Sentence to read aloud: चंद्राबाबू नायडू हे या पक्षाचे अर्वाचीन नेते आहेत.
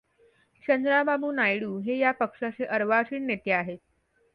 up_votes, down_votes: 2, 0